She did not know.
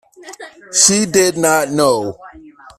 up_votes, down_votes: 1, 2